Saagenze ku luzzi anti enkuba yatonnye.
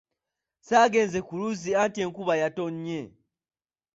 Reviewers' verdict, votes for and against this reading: accepted, 2, 0